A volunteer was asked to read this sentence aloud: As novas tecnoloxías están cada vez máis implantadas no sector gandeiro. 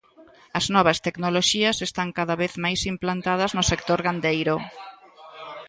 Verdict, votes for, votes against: rejected, 1, 2